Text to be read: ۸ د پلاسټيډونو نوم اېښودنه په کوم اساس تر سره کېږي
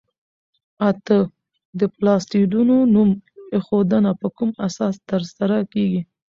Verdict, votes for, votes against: rejected, 0, 2